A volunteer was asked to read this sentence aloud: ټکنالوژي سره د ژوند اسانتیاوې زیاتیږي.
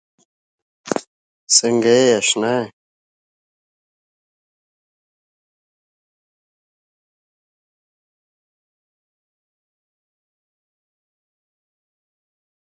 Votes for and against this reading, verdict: 0, 2, rejected